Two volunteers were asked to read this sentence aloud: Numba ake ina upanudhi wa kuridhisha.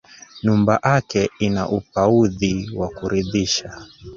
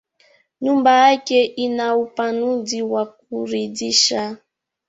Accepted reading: first